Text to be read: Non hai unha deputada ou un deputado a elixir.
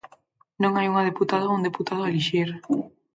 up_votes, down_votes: 4, 0